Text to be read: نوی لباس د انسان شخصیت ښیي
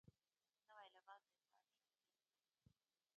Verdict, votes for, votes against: rejected, 0, 2